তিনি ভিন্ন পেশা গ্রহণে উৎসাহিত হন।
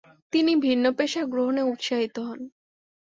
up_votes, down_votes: 3, 0